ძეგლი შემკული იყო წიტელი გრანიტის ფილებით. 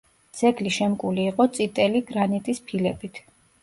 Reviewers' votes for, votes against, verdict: 2, 0, accepted